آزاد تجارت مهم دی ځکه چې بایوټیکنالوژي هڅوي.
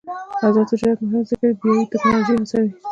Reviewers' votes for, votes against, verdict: 2, 1, accepted